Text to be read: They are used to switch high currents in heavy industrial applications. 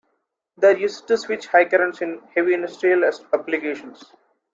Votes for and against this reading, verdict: 0, 3, rejected